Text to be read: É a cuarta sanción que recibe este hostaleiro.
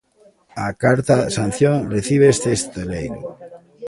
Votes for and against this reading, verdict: 0, 2, rejected